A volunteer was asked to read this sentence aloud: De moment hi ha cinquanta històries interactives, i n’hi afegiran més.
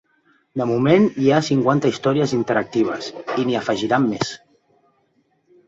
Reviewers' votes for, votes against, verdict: 3, 0, accepted